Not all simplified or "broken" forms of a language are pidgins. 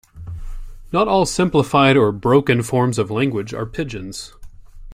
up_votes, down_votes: 0, 2